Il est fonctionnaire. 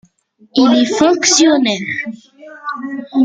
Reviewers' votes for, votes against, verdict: 0, 2, rejected